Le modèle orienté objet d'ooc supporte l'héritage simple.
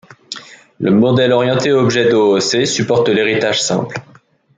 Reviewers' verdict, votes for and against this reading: rejected, 0, 2